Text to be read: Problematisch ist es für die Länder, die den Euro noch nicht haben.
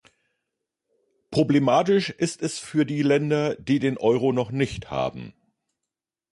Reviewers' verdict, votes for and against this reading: accepted, 2, 0